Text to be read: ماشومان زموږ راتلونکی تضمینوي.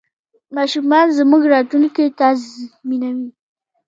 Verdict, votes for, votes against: accepted, 2, 1